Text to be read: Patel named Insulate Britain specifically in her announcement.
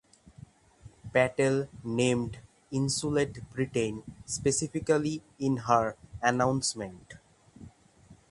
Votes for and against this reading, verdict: 3, 3, rejected